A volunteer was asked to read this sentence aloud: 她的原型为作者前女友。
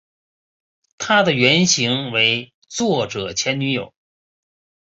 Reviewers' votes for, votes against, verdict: 3, 1, accepted